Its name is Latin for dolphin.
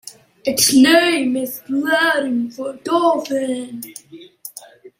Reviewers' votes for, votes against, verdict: 2, 0, accepted